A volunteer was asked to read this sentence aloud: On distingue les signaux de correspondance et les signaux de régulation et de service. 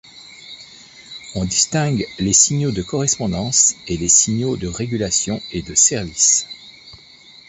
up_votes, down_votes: 2, 0